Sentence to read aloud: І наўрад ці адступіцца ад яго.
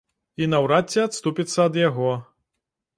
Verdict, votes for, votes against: accepted, 2, 0